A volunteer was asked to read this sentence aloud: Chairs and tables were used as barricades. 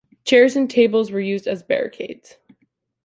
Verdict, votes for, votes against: accepted, 2, 0